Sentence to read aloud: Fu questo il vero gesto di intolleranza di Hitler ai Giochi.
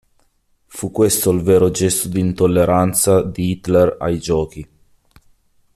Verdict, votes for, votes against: accepted, 2, 0